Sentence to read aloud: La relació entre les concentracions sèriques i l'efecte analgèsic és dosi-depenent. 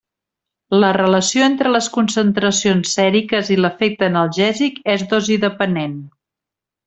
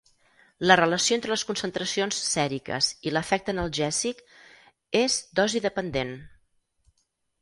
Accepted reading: first